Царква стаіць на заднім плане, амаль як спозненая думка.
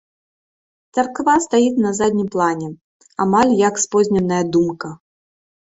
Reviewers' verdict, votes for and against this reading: accepted, 2, 1